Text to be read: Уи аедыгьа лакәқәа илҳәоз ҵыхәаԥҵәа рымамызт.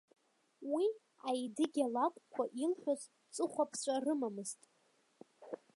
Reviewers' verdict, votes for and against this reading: rejected, 1, 3